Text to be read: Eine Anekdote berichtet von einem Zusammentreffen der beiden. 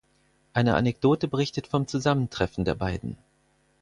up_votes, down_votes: 2, 4